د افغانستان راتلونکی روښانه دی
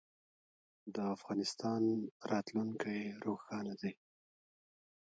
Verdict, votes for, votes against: rejected, 0, 2